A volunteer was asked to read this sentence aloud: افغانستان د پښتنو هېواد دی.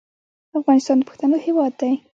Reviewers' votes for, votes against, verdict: 1, 2, rejected